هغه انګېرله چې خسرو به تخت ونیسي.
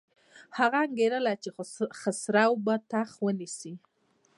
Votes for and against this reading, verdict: 0, 2, rejected